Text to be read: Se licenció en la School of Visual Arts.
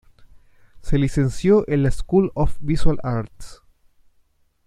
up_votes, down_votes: 2, 0